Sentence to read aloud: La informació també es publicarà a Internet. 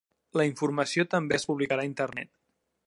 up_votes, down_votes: 3, 0